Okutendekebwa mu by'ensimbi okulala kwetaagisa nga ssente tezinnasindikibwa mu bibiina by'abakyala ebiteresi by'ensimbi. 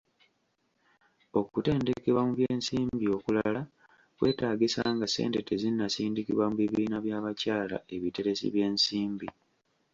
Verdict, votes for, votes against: accepted, 2, 0